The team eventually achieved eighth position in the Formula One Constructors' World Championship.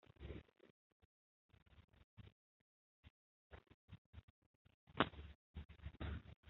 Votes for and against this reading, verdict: 0, 2, rejected